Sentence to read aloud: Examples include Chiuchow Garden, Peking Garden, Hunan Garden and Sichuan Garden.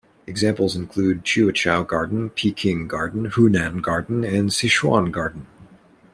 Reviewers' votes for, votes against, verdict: 2, 1, accepted